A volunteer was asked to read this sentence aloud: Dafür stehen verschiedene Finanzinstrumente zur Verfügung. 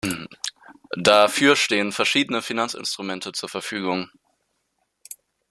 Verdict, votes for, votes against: accepted, 2, 0